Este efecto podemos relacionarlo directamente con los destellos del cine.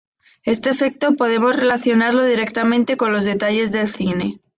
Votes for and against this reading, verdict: 1, 2, rejected